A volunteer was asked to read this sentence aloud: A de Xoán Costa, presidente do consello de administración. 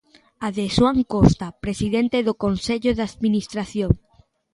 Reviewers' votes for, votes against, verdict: 2, 0, accepted